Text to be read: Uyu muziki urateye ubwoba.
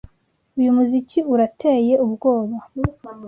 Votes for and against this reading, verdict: 2, 0, accepted